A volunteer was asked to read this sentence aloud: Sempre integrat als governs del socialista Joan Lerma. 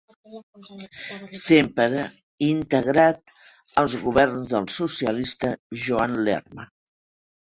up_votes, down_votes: 2, 1